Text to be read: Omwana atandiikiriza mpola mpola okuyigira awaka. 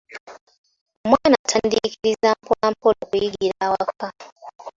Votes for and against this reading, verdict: 2, 1, accepted